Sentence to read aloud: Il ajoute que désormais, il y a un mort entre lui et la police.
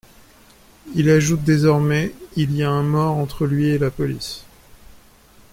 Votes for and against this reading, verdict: 0, 2, rejected